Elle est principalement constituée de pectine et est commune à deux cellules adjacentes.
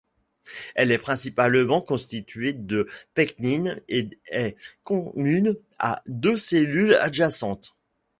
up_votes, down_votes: 0, 2